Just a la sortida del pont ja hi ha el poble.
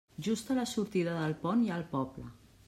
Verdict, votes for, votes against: rejected, 1, 2